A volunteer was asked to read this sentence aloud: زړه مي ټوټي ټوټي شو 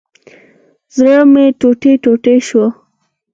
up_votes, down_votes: 4, 0